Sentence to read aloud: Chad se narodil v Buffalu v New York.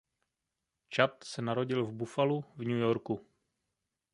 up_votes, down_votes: 1, 2